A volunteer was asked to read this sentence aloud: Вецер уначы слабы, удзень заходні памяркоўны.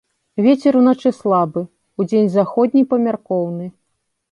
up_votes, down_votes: 2, 0